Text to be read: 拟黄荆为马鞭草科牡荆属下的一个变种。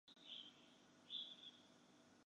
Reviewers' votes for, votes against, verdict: 0, 2, rejected